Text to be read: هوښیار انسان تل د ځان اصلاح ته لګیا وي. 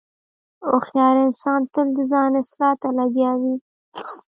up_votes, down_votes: 1, 2